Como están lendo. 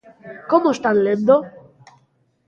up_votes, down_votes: 2, 0